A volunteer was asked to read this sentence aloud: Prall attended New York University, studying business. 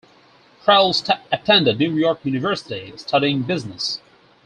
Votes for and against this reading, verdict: 4, 0, accepted